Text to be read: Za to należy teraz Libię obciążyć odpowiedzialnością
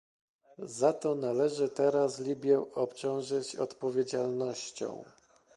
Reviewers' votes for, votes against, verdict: 1, 2, rejected